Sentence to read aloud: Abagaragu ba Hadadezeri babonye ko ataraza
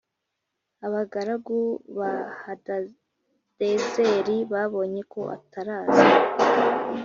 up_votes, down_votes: 2, 0